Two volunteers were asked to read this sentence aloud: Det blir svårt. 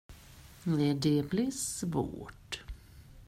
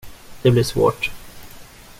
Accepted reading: second